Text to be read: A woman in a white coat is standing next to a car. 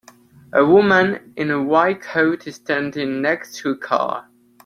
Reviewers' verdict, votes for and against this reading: accepted, 3, 0